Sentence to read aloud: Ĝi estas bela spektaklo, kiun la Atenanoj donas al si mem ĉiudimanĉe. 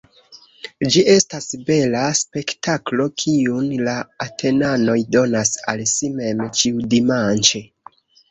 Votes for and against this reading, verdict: 0, 2, rejected